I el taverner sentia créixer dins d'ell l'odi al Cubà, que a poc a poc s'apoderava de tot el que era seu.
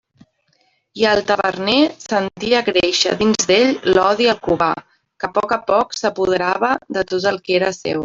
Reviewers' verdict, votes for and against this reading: rejected, 1, 2